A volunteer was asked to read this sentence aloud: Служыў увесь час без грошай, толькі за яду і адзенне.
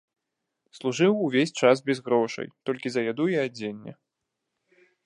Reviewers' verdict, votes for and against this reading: rejected, 1, 2